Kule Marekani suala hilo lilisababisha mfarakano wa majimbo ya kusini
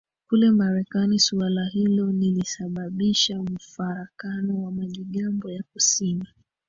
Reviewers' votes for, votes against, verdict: 0, 2, rejected